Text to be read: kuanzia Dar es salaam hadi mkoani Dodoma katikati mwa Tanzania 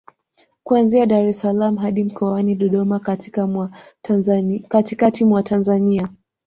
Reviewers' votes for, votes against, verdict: 0, 2, rejected